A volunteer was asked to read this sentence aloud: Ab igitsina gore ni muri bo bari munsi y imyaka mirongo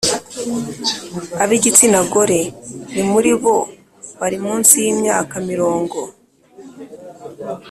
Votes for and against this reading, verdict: 3, 0, accepted